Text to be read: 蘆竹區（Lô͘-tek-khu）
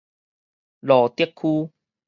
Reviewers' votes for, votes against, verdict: 4, 0, accepted